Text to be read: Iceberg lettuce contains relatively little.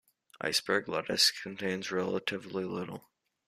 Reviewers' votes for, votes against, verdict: 2, 0, accepted